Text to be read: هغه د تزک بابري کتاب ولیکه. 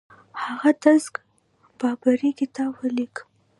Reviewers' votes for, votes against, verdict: 2, 0, accepted